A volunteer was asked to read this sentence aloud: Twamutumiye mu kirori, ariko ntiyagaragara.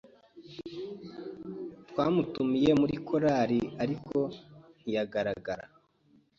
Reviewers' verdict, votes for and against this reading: rejected, 0, 2